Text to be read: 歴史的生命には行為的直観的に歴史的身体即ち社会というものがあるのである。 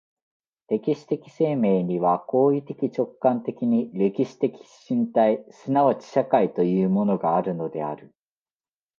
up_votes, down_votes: 2, 0